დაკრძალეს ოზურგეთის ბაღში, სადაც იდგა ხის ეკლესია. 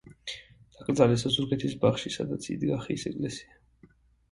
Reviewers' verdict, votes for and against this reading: rejected, 1, 2